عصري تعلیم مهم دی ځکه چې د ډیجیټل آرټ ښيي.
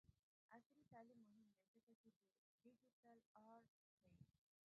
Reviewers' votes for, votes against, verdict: 1, 2, rejected